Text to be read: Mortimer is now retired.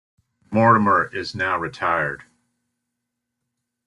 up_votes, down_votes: 1, 2